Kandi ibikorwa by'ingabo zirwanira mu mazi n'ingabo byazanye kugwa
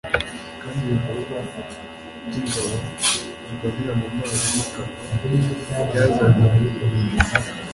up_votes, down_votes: 1, 2